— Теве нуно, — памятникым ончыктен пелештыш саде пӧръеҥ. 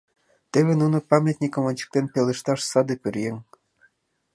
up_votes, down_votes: 0, 2